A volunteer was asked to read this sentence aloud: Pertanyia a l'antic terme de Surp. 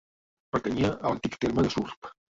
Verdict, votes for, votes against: rejected, 1, 3